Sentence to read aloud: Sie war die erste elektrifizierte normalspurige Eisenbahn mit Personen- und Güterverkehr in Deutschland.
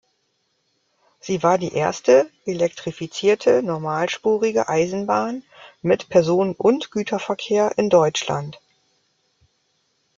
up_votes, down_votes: 0, 2